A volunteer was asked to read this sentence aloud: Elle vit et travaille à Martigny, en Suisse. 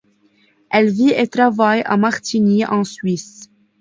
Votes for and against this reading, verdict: 1, 2, rejected